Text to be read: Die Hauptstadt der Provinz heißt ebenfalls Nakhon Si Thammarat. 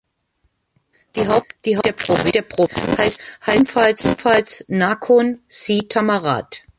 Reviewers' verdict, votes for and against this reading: rejected, 0, 2